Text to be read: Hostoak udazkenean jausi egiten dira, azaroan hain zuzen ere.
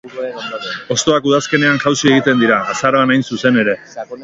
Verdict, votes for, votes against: rejected, 0, 4